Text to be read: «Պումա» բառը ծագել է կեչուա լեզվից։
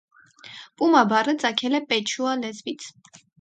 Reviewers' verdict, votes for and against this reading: rejected, 2, 4